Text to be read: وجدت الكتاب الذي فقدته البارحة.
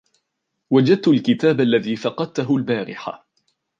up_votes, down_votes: 2, 1